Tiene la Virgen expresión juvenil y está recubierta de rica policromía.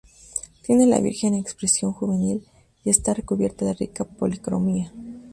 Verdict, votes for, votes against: rejected, 0, 2